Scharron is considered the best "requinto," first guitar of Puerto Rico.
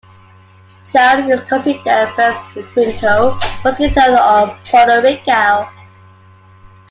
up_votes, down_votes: 2, 1